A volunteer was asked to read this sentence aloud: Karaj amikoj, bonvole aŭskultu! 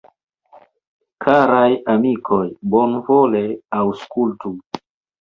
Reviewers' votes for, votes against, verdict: 2, 1, accepted